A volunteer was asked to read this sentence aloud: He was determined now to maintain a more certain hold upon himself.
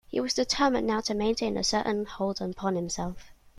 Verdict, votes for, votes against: rejected, 0, 2